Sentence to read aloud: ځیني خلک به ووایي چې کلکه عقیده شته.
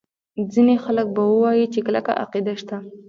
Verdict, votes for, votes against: rejected, 1, 2